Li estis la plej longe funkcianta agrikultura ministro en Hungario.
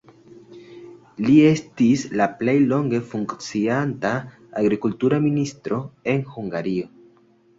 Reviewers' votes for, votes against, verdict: 3, 0, accepted